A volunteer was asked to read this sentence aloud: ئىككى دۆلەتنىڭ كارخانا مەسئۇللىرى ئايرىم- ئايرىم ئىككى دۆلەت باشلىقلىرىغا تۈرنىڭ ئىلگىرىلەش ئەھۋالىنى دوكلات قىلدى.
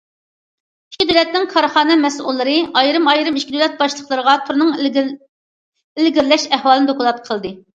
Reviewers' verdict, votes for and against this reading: rejected, 1, 2